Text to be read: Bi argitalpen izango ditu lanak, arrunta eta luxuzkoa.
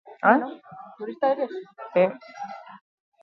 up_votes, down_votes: 0, 2